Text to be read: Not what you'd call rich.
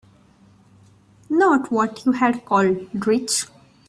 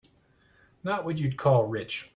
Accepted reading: second